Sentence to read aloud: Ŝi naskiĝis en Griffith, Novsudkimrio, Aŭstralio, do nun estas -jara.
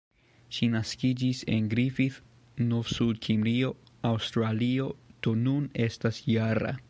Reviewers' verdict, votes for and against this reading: rejected, 1, 2